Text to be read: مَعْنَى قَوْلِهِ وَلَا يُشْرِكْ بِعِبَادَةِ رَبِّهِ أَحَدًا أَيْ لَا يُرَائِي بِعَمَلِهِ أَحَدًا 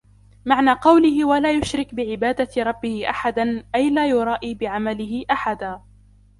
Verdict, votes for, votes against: rejected, 0, 2